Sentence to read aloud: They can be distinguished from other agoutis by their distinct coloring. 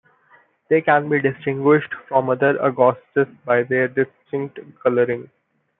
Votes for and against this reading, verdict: 2, 0, accepted